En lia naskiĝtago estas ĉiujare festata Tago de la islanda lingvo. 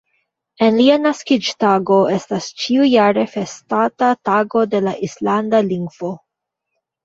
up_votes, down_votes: 1, 2